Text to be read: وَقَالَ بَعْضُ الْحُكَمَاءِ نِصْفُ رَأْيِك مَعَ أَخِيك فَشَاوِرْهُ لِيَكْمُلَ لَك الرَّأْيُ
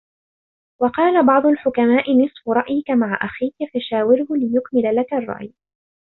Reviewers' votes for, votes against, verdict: 2, 1, accepted